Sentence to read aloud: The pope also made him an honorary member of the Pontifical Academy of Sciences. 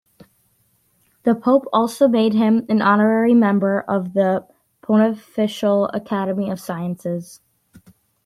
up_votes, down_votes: 1, 2